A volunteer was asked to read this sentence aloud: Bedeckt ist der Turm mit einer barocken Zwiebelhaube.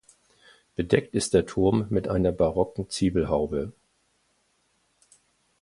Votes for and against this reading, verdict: 2, 0, accepted